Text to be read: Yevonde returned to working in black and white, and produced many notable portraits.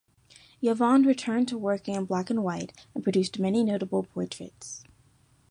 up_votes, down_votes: 2, 0